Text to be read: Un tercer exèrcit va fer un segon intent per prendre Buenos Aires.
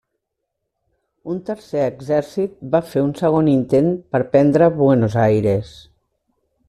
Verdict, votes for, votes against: accepted, 3, 0